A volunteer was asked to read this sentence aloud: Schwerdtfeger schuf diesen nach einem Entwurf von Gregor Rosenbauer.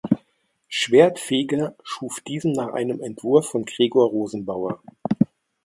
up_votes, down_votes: 2, 0